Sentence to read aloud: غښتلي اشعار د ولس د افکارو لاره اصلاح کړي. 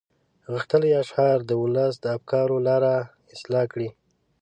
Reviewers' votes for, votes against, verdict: 2, 0, accepted